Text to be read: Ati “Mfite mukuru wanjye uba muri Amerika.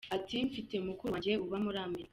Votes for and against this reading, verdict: 2, 0, accepted